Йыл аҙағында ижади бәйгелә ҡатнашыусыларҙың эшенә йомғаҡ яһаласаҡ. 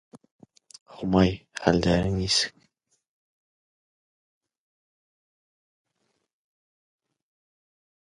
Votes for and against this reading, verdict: 0, 2, rejected